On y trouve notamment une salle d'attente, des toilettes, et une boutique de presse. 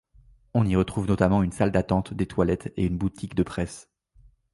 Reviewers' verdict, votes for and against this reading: rejected, 0, 2